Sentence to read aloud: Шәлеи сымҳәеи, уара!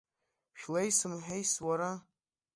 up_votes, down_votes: 0, 2